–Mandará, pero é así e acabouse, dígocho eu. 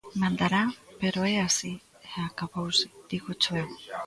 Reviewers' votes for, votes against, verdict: 1, 2, rejected